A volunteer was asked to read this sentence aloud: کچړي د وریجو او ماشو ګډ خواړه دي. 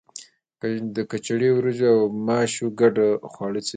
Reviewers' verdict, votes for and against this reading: rejected, 1, 2